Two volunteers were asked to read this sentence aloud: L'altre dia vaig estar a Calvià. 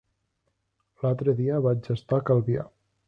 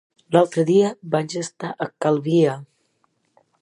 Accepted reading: first